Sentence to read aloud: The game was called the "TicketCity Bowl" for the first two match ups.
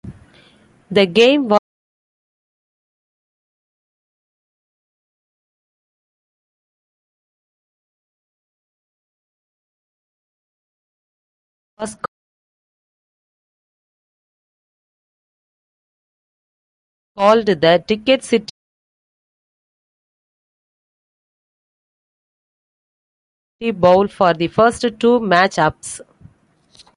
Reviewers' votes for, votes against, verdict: 0, 2, rejected